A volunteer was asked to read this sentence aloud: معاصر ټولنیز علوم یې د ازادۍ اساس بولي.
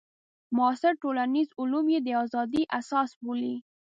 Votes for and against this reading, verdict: 2, 0, accepted